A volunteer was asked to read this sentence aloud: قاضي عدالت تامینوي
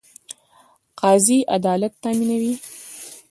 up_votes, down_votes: 1, 2